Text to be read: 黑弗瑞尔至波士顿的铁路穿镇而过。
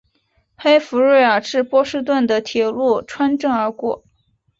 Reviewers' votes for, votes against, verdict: 2, 0, accepted